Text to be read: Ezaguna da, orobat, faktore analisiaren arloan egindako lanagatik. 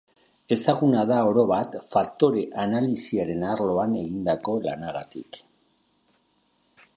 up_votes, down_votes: 3, 0